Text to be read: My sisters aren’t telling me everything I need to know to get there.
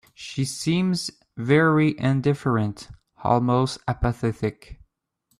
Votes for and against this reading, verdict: 0, 2, rejected